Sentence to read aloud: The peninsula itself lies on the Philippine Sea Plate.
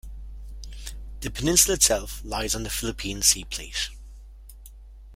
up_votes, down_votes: 0, 2